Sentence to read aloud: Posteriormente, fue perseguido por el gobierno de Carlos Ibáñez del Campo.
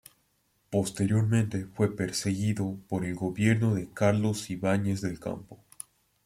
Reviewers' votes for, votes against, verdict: 3, 0, accepted